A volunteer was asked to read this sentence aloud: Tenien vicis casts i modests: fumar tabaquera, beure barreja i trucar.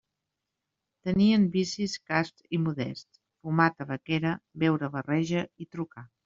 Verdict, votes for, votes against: accepted, 2, 0